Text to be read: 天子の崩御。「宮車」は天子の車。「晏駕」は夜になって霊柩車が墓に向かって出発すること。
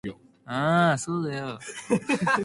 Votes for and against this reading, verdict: 0, 3, rejected